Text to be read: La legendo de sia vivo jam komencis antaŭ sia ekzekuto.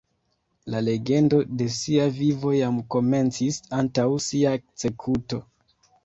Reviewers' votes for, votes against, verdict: 0, 2, rejected